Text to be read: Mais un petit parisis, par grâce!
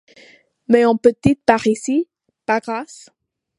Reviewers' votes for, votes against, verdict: 1, 2, rejected